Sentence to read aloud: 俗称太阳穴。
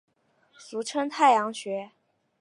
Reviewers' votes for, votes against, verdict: 2, 0, accepted